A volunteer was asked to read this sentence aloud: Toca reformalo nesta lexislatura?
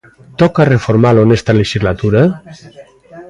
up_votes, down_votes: 2, 0